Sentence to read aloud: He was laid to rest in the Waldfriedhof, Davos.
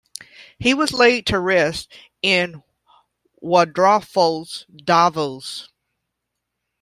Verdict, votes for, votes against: rejected, 0, 2